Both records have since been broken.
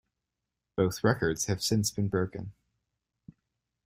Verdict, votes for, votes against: accepted, 2, 0